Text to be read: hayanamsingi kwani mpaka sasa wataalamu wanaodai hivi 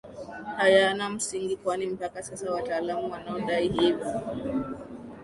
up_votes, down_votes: 2, 0